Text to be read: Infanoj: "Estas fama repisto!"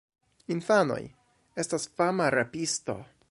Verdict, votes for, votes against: rejected, 1, 3